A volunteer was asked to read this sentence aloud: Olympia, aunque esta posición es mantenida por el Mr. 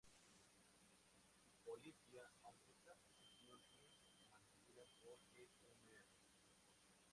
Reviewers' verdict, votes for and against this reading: rejected, 0, 2